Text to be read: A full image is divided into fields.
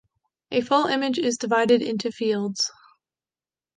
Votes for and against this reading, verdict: 2, 0, accepted